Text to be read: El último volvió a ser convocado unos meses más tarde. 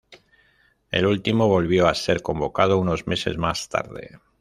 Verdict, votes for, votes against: accepted, 2, 0